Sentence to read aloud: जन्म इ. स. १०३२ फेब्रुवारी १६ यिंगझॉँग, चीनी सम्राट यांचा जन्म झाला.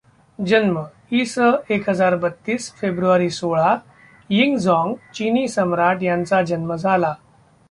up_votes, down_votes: 0, 2